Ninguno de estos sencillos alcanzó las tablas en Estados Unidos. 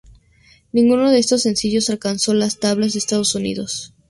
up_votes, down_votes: 0, 2